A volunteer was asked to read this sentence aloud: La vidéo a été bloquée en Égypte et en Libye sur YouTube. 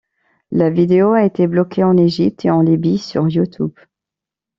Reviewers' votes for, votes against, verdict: 2, 0, accepted